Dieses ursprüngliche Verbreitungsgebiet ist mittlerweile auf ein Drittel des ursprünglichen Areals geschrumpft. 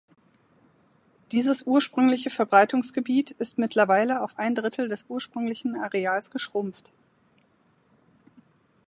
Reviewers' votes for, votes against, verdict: 2, 0, accepted